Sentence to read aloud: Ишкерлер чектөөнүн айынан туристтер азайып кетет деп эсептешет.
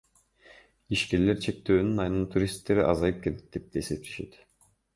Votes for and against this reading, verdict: 2, 0, accepted